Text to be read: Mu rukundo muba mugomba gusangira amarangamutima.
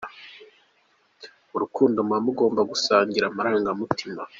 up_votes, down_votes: 2, 0